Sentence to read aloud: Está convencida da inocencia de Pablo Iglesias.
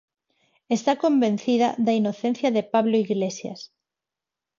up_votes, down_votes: 4, 0